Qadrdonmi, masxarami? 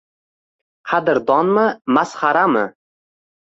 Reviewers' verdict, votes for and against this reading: accepted, 2, 0